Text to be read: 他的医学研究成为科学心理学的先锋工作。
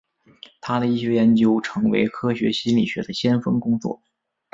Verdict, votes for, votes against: rejected, 1, 2